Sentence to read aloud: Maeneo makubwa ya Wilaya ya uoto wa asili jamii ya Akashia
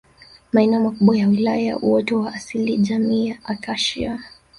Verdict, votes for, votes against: rejected, 0, 2